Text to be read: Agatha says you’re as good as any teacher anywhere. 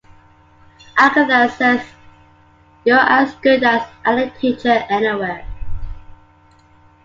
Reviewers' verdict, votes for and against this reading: accepted, 2, 0